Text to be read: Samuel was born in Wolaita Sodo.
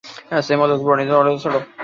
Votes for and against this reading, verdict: 1, 2, rejected